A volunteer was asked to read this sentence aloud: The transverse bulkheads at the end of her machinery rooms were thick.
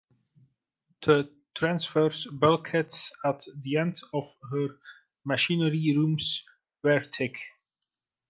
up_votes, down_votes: 1, 2